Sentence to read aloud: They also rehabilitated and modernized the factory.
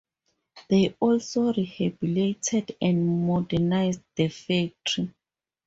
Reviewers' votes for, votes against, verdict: 0, 2, rejected